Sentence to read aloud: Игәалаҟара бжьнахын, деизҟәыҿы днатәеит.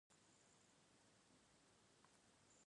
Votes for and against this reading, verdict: 0, 2, rejected